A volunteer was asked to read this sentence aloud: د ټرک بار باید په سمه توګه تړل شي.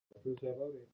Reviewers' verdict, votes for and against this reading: accepted, 2, 1